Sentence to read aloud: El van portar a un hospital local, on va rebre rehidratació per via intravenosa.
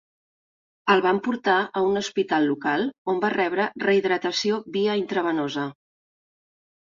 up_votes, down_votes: 1, 2